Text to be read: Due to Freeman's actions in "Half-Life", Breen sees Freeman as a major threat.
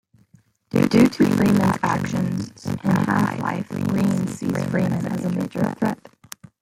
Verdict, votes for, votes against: rejected, 1, 2